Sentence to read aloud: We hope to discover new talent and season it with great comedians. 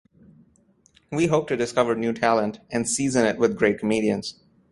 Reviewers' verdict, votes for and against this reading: accepted, 2, 0